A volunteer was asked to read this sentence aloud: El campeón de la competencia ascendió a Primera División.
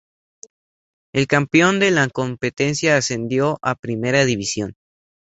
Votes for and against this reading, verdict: 0, 2, rejected